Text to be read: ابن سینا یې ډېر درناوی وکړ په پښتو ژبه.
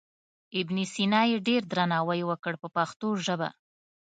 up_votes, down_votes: 2, 0